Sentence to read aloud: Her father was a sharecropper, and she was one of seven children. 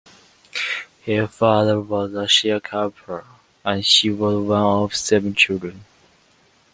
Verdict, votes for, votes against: accepted, 2, 1